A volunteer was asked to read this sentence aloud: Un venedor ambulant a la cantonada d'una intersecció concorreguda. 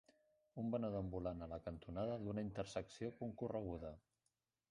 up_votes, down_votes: 0, 2